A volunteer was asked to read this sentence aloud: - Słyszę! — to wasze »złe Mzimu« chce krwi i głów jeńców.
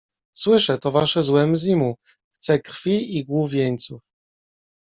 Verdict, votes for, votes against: rejected, 1, 2